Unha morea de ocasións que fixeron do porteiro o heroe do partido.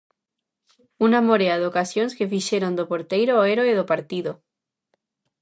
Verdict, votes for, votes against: rejected, 0, 2